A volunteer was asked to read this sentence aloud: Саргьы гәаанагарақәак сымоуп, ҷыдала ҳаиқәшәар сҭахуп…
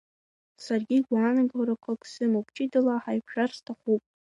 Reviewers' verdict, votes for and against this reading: accepted, 2, 1